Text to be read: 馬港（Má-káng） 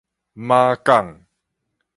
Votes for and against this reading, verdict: 4, 0, accepted